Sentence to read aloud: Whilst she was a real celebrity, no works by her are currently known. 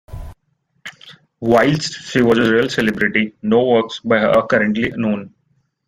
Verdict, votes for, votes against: accepted, 2, 0